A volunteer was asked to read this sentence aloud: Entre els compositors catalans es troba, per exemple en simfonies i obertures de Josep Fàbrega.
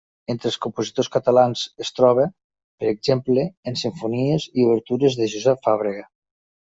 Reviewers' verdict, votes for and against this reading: accepted, 3, 0